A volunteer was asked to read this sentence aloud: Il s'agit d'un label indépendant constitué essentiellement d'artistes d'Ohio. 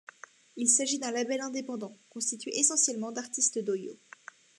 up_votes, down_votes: 2, 0